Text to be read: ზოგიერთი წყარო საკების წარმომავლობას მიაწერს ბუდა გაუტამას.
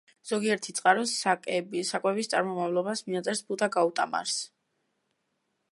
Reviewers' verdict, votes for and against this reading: rejected, 1, 2